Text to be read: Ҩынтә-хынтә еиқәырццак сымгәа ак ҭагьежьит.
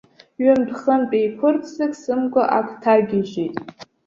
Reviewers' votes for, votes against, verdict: 2, 0, accepted